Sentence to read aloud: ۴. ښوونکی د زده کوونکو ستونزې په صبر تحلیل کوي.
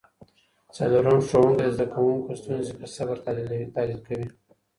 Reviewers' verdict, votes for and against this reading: rejected, 0, 2